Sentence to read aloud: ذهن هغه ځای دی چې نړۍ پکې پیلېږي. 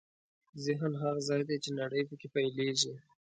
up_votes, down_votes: 2, 0